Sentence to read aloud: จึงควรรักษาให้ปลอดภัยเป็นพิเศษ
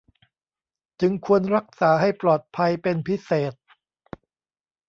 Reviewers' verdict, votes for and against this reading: accepted, 2, 0